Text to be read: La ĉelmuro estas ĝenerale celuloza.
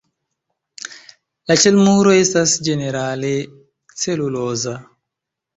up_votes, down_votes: 3, 0